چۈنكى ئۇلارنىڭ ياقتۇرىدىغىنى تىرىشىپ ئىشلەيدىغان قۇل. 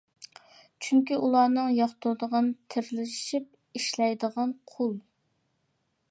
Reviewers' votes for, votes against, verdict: 0, 2, rejected